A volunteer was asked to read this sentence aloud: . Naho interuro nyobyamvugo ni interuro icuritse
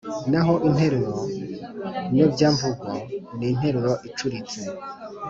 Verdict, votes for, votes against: accepted, 2, 0